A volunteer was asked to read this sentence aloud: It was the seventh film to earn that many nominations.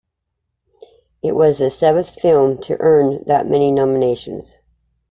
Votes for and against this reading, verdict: 2, 0, accepted